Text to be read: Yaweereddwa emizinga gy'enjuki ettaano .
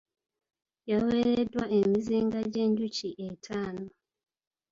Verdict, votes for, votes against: accepted, 2, 1